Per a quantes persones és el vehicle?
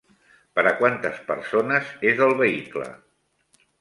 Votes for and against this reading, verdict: 3, 0, accepted